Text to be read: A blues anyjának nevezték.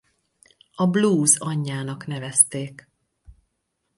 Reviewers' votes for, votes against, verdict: 4, 0, accepted